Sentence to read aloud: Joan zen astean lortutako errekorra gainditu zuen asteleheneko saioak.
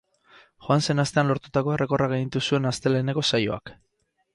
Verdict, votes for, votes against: accepted, 6, 0